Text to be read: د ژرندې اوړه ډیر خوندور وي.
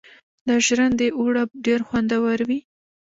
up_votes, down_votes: 1, 2